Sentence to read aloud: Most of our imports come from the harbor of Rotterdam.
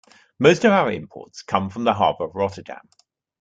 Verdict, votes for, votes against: accepted, 2, 0